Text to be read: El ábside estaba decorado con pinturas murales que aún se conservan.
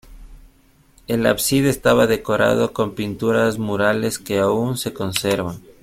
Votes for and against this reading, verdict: 2, 0, accepted